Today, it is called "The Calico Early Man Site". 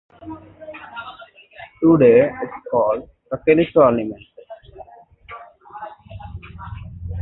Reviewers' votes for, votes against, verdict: 0, 2, rejected